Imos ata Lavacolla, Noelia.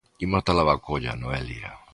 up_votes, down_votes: 0, 2